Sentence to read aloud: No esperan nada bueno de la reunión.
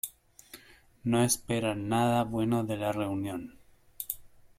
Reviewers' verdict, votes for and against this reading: accepted, 2, 0